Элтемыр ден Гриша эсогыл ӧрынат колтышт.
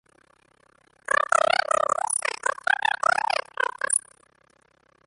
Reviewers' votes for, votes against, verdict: 0, 2, rejected